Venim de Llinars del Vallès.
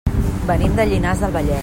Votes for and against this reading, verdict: 0, 2, rejected